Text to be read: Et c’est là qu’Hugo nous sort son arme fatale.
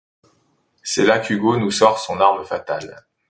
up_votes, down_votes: 2, 0